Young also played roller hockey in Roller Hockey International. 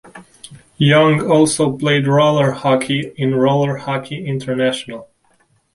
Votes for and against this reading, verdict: 2, 0, accepted